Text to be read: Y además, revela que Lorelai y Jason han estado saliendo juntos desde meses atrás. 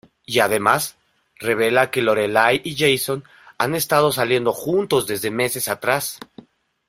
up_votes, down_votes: 2, 0